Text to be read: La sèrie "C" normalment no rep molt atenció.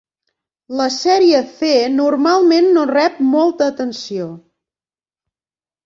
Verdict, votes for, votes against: rejected, 1, 2